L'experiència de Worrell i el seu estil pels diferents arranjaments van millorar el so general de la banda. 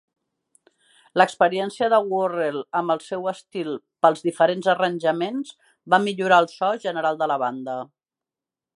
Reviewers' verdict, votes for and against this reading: rejected, 0, 2